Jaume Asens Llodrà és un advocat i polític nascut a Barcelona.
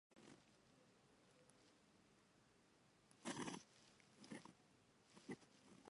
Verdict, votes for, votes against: rejected, 0, 2